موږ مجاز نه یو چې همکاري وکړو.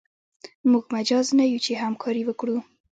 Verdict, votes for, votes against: accepted, 2, 0